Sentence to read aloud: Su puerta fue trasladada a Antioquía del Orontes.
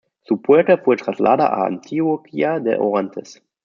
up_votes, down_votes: 0, 2